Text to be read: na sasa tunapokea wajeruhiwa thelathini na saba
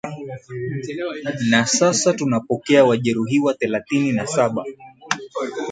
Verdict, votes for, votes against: accepted, 9, 1